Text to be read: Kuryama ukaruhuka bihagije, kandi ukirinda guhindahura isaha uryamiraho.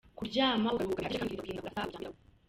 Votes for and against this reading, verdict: 0, 2, rejected